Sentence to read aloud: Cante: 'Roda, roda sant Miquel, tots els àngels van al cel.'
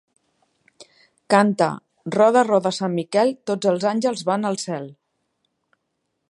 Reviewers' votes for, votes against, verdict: 3, 0, accepted